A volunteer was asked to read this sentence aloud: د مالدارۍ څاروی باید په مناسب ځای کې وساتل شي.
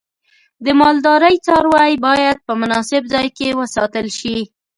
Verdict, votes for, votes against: accepted, 2, 0